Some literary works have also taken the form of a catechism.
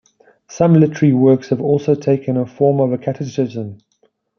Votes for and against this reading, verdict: 1, 2, rejected